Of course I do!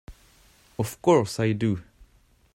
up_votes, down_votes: 2, 0